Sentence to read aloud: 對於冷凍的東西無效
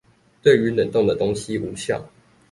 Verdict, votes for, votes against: accepted, 2, 0